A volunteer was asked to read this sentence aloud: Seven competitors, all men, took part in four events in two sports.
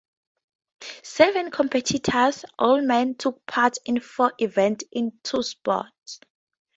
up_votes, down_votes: 4, 0